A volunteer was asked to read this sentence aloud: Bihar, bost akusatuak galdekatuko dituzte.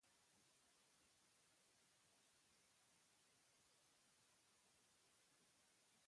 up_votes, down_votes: 0, 2